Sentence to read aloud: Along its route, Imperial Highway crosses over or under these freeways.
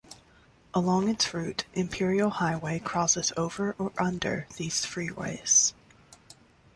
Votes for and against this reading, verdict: 2, 0, accepted